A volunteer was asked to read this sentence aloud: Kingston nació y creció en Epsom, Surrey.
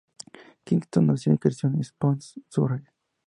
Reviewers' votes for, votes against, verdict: 2, 2, rejected